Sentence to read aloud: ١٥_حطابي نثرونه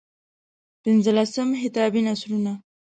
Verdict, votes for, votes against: rejected, 0, 2